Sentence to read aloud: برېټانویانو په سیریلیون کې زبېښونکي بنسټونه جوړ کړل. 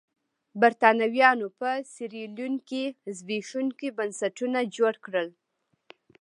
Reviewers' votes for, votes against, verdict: 2, 1, accepted